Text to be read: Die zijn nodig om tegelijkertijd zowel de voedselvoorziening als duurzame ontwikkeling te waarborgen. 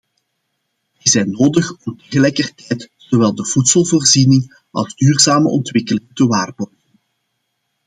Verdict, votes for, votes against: rejected, 0, 2